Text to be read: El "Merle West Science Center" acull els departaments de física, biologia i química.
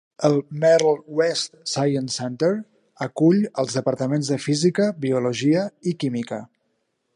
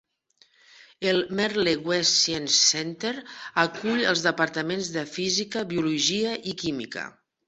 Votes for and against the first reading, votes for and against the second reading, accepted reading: 2, 0, 1, 2, first